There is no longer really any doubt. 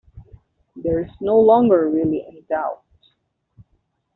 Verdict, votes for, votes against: accepted, 2, 0